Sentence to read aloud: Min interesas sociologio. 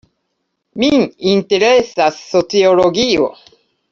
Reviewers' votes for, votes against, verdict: 2, 0, accepted